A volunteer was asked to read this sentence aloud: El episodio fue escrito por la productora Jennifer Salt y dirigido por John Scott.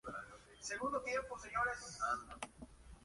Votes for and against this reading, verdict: 0, 3, rejected